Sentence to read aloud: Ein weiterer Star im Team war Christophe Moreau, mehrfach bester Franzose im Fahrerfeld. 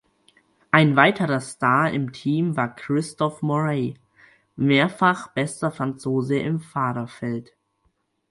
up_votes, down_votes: 2, 4